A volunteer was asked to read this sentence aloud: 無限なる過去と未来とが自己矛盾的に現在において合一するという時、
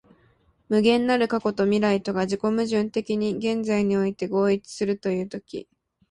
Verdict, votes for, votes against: accepted, 2, 0